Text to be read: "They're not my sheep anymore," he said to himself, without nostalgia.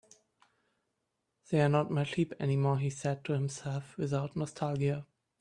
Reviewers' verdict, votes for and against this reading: rejected, 1, 2